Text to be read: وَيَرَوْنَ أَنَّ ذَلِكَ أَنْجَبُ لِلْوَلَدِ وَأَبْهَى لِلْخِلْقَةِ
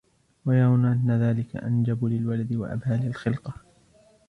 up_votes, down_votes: 2, 0